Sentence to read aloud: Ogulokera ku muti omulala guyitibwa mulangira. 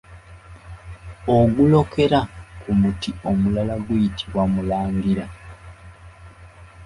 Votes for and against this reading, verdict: 2, 0, accepted